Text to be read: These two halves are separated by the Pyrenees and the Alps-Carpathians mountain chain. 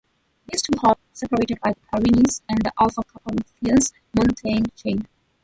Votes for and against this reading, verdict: 0, 2, rejected